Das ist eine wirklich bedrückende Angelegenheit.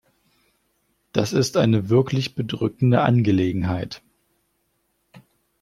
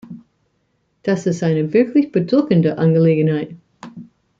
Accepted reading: first